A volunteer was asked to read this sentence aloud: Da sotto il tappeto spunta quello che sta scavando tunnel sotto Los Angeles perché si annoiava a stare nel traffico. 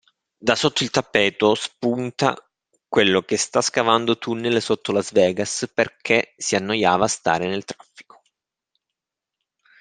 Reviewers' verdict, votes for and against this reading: rejected, 0, 2